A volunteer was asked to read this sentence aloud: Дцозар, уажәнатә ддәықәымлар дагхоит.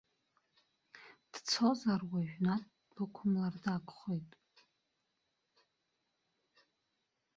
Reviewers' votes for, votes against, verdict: 1, 2, rejected